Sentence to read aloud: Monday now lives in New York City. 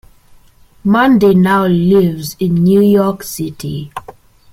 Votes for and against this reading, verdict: 2, 0, accepted